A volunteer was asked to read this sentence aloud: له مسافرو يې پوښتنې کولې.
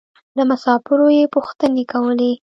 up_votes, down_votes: 1, 2